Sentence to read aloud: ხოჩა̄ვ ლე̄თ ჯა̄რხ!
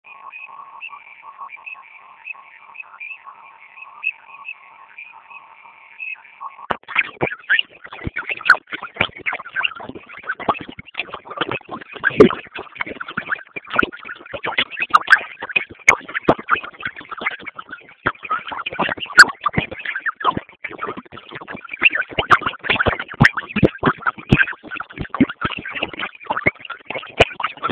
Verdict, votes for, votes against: rejected, 0, 2